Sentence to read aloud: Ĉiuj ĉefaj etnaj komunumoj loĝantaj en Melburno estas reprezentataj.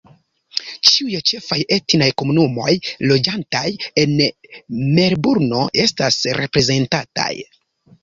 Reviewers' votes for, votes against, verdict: 1, 2, rejected